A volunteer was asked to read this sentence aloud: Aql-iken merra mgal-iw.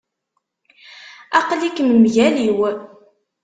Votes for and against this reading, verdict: 0, 2, rejected